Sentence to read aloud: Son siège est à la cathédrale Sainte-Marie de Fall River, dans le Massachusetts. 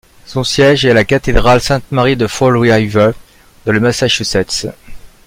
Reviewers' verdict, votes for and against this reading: rejected, 1, 2